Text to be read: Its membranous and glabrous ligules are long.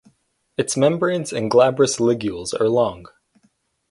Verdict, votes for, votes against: rejected, 2, 4